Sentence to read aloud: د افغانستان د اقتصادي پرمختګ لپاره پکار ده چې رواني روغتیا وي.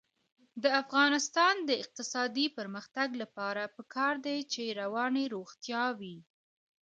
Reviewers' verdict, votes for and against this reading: rejected, 2, 3